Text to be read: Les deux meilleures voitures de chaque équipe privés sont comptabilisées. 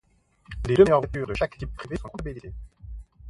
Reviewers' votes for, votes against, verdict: 0, 2, rejected